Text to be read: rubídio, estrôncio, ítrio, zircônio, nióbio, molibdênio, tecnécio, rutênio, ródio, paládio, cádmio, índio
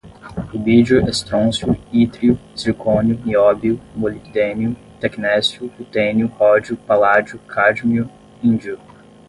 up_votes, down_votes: 10, 0